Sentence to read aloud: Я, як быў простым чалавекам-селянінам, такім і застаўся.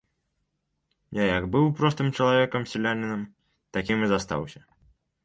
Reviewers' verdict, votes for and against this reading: rejected, 0, 2